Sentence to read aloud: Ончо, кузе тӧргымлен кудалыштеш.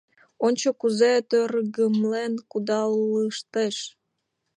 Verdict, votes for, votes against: accepted, 2, 1